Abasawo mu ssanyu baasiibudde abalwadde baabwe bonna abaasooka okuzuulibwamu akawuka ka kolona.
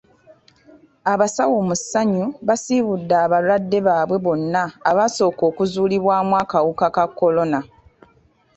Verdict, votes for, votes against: accepted, 2, 0